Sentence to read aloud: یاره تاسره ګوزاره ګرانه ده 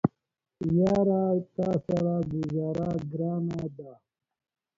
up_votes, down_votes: 0, 2